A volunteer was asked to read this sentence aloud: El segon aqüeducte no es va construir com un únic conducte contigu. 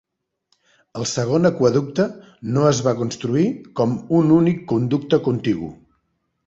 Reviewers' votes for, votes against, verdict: 3, 0, accepted